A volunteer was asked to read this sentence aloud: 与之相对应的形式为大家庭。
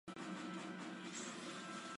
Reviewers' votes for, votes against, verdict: 1, 7, rejected